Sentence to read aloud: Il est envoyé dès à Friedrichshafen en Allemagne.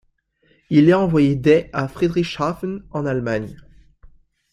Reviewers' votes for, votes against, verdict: 0, 2, rejected